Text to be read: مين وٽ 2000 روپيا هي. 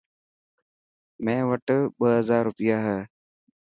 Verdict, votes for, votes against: rejected, 0, 2